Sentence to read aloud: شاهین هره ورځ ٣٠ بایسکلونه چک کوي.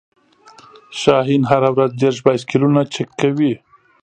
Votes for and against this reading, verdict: 0, 2, rejected